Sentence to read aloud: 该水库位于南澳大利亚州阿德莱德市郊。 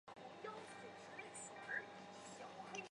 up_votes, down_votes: 0, 2